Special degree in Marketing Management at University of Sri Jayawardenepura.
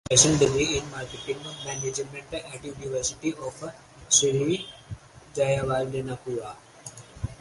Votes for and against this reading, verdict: 2, 4, rejected